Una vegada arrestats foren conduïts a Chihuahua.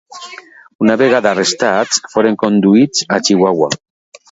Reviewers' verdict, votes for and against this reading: rejected, 1, 2